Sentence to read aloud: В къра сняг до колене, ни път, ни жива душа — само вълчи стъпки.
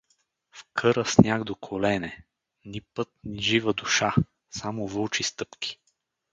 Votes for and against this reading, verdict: 4, 0, accepted